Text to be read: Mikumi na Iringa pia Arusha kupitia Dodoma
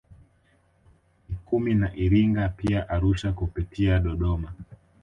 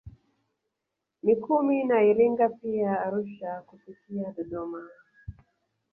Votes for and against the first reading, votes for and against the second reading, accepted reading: 2, 0, 0, 2, first